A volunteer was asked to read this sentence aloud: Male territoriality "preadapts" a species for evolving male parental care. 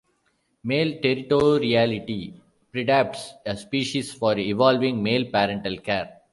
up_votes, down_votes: 2, 1